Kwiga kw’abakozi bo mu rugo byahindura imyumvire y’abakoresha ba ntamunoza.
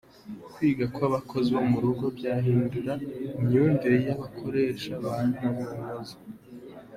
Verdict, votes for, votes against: accepted, 2, 1